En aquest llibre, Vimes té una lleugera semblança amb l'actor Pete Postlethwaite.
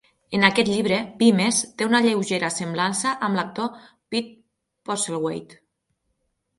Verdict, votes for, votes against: accepted, 6, 0